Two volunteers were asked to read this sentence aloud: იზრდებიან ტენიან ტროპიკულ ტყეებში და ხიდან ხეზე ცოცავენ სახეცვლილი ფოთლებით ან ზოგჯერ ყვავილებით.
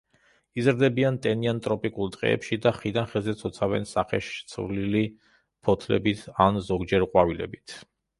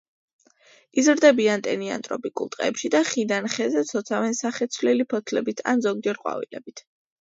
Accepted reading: second